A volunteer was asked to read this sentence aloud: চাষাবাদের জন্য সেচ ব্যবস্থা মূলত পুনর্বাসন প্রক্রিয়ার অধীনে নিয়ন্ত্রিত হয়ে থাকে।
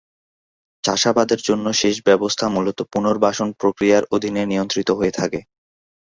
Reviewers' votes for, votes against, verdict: 2, 0, accepted